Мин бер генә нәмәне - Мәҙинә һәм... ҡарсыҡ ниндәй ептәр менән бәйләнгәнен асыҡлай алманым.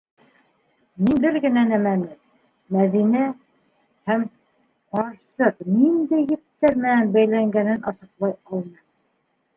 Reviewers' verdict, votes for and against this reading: accepted, 2, 1